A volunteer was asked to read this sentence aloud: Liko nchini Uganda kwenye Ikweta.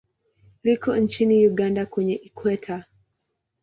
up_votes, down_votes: 3, 0